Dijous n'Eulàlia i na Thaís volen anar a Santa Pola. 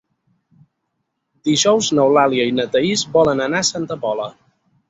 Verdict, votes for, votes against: accepted, 6, 0